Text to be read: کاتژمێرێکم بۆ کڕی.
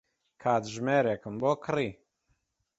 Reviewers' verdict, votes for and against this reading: accepted, 2, 0